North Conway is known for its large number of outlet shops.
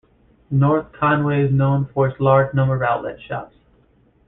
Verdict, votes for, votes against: accepted, 2, 1